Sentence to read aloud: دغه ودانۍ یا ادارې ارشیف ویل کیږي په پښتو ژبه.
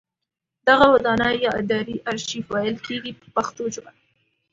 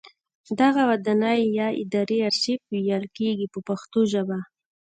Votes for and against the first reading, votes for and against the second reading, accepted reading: 2, 0, 1, 2, first